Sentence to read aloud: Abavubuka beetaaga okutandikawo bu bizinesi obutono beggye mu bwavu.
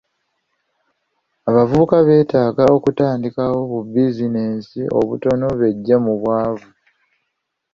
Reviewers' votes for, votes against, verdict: 2, 0, accepted